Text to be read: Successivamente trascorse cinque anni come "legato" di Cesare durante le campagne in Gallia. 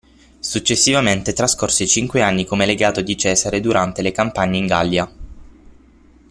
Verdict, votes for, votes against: accepted, 6, 0